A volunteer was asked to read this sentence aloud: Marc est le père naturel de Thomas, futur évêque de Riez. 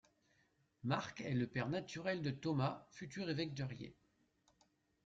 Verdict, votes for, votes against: accepted, 2, 0